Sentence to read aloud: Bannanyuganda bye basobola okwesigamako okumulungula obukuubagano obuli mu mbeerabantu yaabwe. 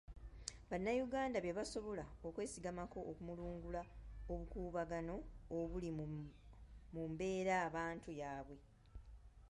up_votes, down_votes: 0, 2